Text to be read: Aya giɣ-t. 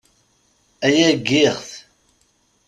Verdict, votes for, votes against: rejected, 1, 2